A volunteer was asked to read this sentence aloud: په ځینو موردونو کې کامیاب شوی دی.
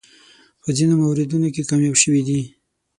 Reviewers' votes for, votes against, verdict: 0, 6, rejected